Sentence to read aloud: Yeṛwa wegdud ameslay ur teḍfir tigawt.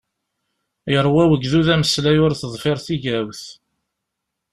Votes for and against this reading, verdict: 3, 0, accepted